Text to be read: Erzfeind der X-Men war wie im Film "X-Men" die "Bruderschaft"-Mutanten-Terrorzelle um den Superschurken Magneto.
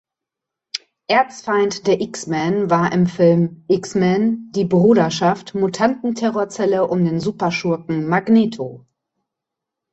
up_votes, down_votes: 1, 3